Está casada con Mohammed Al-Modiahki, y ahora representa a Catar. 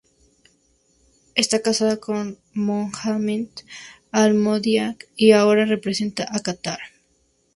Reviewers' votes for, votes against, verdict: 0, 2, rejected